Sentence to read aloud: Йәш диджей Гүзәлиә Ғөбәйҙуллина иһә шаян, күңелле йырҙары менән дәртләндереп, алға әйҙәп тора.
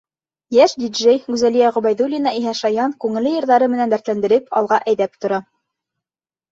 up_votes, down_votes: 2, 0